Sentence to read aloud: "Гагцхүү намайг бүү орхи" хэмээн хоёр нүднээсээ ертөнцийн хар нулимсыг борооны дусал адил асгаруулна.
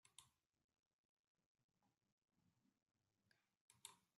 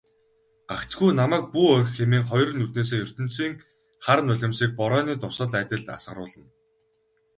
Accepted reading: second